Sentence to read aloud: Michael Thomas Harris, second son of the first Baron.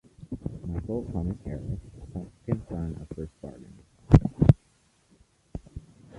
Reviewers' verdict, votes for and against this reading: rejected, 0, 2